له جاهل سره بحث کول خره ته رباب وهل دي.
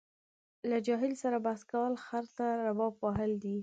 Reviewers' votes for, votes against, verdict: 2, 0, accepted